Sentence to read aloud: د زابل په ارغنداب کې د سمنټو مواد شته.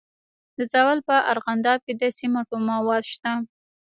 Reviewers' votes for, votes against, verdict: 2, 1, accepted